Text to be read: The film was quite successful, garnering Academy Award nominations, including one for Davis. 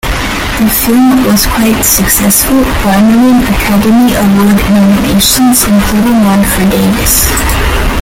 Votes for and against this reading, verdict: 0, 2, rejected